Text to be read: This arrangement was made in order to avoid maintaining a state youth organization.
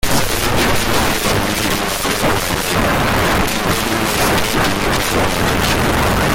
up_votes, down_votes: 0, 2